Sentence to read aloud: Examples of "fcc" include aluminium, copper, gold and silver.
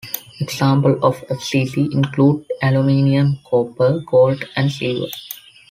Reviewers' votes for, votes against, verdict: 1, 2, rejected